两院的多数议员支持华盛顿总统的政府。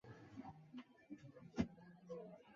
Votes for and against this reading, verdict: 1, 3, rejected